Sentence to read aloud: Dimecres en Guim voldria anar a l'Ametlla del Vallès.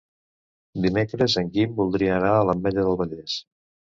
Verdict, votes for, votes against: accepted, 2, 0